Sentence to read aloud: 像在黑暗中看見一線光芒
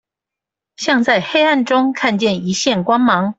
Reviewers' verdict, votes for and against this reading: accepted, 2, 0